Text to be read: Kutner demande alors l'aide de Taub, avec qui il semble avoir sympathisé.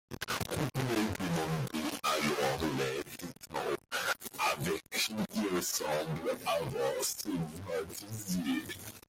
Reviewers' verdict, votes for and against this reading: rejected, 0, 2